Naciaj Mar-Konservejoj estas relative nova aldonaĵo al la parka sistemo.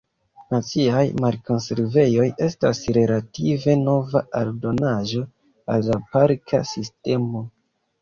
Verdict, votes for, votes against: rejected, 1, 2